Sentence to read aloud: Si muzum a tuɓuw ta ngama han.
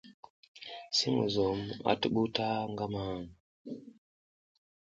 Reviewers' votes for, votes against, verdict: 0, 2, rejected